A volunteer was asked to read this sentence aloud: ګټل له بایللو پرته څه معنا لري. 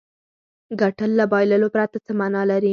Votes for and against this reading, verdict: 4, 0, accepted